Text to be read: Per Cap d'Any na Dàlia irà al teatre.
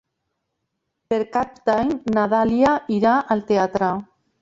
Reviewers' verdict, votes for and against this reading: rejected, 0, 2